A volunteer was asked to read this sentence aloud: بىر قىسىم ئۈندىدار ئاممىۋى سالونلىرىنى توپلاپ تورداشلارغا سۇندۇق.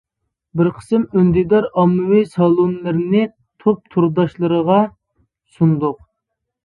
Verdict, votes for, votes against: rejected, 0, 2